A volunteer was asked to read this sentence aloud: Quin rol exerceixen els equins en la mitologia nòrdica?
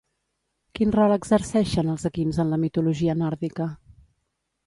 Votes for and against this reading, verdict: 2, 1, accepted